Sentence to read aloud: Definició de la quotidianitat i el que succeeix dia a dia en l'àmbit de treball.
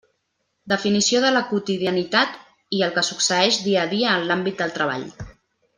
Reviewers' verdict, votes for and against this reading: rejected, 1, 2